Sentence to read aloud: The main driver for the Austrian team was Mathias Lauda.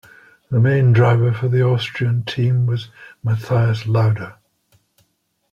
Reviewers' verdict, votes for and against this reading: accepted, 2, 0